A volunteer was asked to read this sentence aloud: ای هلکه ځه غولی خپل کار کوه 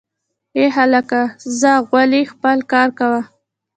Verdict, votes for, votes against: rejected, 1, 2